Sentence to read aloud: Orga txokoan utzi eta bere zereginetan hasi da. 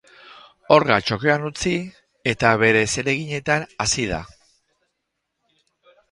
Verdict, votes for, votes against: rejected, 2, 2